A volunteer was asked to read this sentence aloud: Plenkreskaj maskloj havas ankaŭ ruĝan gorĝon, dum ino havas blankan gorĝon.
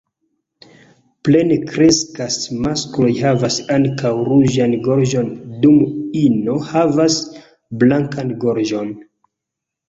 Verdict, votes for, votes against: rejected, 1, 2